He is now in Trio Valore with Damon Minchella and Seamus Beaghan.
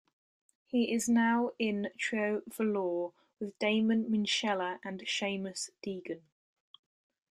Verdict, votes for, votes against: rejected, 0, 2